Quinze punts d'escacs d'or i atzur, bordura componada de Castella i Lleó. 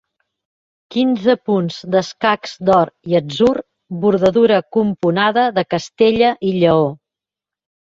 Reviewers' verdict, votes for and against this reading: rejected, 0, 2